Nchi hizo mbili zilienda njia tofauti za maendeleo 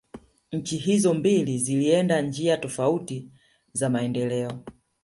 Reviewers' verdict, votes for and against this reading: accepted, 2, 0